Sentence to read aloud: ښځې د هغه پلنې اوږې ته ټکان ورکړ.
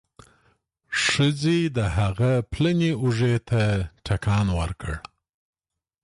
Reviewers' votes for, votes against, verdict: 2, 0, accepted